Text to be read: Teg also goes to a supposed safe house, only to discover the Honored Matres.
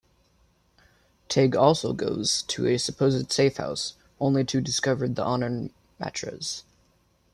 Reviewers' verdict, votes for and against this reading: rejected, 0, 2